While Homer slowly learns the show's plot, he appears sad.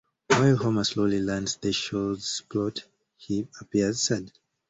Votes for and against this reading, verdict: 2, 0, accepted